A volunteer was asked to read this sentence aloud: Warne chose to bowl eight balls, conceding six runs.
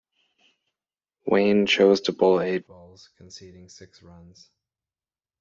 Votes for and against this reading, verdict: 0, 2, rejected